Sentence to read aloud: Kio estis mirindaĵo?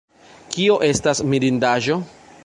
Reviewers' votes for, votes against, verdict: 0, 2, rejected